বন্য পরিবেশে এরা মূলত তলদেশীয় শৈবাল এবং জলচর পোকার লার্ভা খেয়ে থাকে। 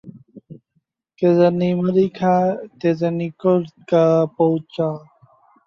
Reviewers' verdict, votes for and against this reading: rejected, 0, 2